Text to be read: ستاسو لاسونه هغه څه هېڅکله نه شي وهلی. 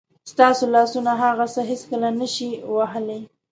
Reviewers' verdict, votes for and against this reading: accepted, 2, 0